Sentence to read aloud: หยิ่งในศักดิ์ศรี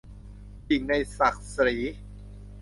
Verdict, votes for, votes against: rejected, 1, 2